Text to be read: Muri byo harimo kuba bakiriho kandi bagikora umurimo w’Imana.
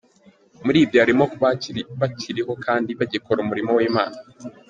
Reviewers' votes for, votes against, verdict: 0, 2, rejected